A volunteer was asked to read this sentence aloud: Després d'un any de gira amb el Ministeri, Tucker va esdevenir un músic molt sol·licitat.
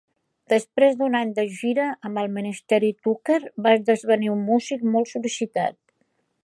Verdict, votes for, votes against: rejected, 1, 2